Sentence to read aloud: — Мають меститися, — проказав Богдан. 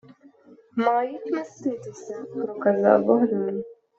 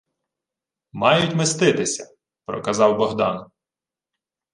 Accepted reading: second